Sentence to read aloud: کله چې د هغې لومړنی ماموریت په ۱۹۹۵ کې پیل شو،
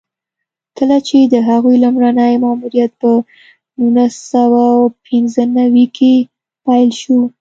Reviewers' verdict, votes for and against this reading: rejected, 0, 2